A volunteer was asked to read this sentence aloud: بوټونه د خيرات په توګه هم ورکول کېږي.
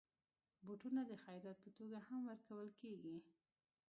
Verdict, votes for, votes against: rejected, 0, 2